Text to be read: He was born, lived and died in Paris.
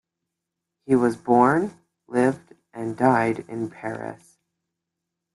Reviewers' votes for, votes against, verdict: 2, 0, accepted